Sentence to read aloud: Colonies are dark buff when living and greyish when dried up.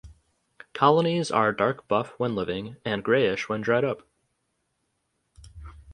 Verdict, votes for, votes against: accepted, 4, 0